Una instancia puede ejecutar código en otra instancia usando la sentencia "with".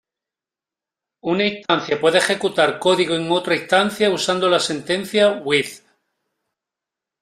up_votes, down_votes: 2, 1